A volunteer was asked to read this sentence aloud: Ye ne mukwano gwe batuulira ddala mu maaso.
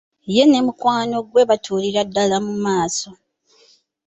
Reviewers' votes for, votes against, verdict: 2, 1, accepted